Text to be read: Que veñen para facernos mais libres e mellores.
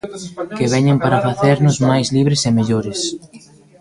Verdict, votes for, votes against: rejected, 1, 2